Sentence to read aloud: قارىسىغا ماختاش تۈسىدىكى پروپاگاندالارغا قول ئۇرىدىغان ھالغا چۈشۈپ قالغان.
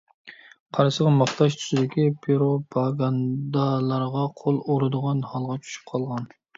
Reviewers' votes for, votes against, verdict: 0, 2, rejected